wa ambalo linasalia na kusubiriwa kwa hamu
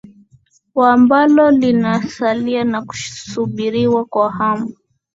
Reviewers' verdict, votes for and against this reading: accepted, 2, 0